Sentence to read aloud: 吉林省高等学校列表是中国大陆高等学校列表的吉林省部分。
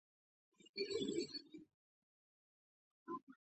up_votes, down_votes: 0, 5